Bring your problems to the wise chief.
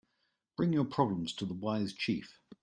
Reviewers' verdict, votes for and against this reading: accepted, 2, 0